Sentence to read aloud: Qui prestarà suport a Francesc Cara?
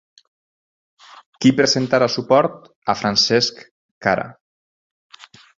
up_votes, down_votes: 0, 4